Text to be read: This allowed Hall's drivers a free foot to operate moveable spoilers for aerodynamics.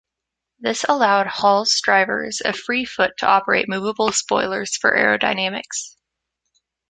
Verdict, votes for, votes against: accepted, 2, 0